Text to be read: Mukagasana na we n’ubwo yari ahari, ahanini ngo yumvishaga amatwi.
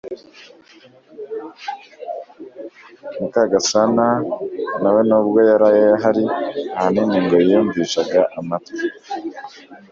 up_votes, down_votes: 1, 2